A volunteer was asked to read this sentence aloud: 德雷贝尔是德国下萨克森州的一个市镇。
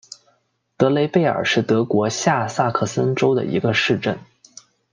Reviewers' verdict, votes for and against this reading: accepted, 2, 0